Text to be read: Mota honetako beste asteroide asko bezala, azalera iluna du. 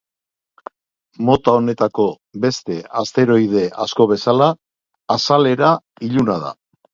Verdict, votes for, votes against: rejected, 0, 2